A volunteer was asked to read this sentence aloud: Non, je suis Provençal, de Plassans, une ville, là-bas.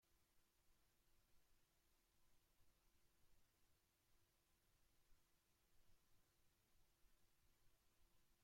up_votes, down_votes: 0, 2